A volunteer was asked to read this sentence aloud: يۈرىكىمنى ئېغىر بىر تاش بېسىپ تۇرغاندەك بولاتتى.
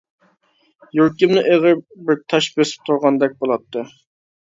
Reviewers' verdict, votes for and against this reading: accepted, 2, 0